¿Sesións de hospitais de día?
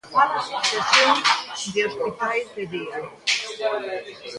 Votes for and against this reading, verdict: 0, 2, rejected